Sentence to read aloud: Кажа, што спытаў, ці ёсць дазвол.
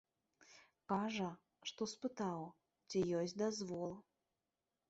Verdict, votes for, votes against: rejected, 0, 2